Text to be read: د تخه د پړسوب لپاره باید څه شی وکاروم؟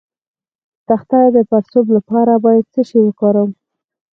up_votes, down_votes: 2, 4